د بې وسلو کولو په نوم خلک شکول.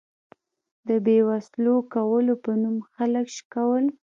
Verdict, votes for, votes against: accepted, 2, 0